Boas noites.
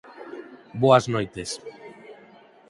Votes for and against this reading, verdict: 4, 0, accepted